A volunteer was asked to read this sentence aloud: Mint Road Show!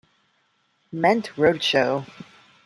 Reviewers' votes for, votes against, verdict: 0, 2, rejected